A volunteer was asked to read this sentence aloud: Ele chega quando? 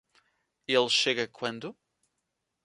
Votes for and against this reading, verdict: 2, 0, accepted